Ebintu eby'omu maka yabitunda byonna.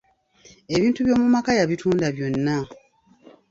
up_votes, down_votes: 0, 2